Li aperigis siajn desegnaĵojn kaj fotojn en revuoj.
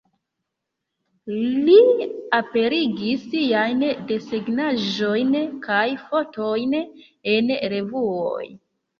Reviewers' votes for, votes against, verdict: 2, 0, accepted